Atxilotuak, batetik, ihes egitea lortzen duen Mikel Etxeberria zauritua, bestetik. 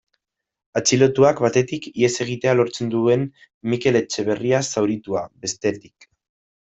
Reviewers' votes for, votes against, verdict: 2, 0, accepted